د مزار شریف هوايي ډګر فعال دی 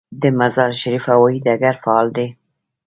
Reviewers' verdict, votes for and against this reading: rejected, 1, 2